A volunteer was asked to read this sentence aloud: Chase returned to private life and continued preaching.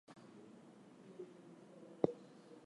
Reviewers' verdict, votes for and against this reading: rejected, 0, 2